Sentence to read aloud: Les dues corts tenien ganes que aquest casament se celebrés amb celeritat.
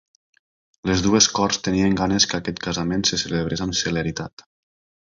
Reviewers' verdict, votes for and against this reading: accepted, 3, 0